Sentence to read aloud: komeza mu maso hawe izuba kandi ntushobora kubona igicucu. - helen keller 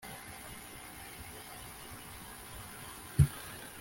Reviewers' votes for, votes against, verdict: 0, 2, rejected